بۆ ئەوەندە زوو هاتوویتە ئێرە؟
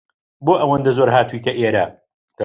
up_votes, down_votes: 1, 2